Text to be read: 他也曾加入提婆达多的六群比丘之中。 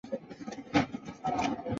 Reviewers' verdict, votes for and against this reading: rejected, 0, 4